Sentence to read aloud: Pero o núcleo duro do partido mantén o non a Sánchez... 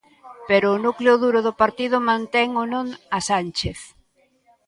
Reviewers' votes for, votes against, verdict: 2, 0, accepted